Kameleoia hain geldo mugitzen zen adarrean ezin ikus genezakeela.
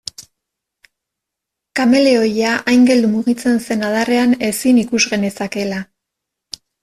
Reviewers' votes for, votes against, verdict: 2, 0, accepted